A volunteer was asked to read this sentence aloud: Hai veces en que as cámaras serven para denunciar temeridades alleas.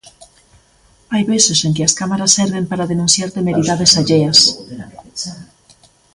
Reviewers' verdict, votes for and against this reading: rejected, 1, 2